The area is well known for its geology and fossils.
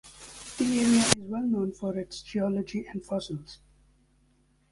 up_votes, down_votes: 0, 2